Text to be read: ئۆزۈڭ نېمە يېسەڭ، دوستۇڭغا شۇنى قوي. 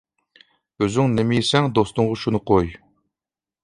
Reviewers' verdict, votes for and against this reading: accepted, 2, 0